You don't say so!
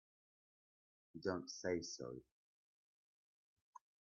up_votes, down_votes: 0, 2